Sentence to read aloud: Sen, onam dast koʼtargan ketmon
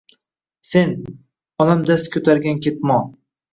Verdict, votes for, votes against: accepted, 2, 0